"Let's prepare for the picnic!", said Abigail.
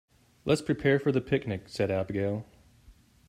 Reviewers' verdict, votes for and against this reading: accepted, 2, 0